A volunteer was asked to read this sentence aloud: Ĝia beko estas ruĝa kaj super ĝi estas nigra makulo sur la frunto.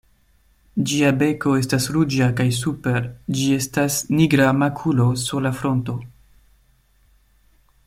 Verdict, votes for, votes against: accepted, 2, 0